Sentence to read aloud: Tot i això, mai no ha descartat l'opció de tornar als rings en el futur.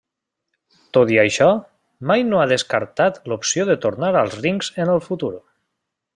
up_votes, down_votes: 2, 0